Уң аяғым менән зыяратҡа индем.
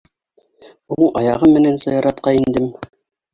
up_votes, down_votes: 1, 2